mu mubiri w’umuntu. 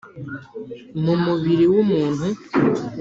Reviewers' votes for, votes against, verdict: 2, 0, accepted